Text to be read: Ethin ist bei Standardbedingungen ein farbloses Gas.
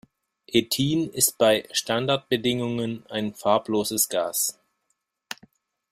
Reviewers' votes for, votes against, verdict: 2, 0, accepted